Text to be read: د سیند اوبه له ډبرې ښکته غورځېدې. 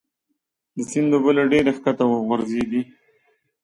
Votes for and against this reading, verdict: 2, 0, accepted